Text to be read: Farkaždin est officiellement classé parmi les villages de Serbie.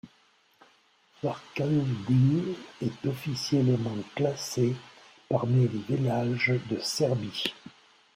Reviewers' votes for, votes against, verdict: 0, 2, rejected